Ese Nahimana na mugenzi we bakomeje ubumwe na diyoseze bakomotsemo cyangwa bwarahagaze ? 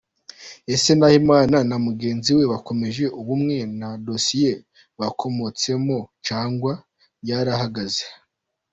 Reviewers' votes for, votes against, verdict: 1, 2, rejected